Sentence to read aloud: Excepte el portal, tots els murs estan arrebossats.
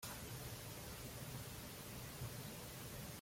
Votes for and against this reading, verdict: 0, 2, rejected